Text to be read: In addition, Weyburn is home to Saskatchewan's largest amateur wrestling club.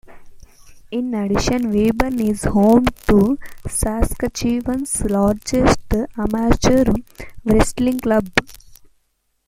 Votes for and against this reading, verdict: 1, 2, rejected